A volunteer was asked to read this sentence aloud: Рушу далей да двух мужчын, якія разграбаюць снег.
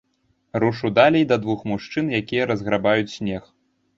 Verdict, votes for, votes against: rejected, 1, 2